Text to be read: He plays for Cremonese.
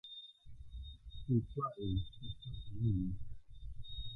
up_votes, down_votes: 1, 2